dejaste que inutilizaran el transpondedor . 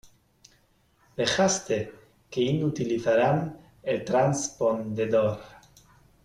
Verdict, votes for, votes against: rejected, 2, 3